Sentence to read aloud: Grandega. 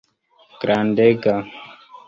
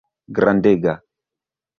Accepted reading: first